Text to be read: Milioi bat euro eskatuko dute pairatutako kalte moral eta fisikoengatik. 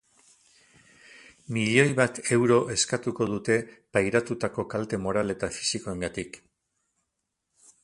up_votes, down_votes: 2, 2